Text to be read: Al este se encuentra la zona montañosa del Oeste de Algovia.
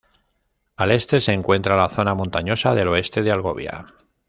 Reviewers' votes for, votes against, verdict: 1, 2, rejected